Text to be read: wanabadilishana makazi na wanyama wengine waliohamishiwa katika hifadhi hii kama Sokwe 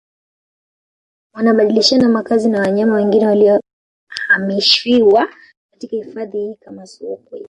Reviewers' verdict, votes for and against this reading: rejected, 0, 2